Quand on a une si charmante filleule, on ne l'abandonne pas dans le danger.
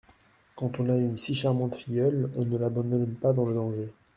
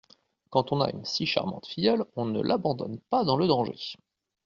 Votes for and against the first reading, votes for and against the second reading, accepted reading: 1, 2, 2, 0, second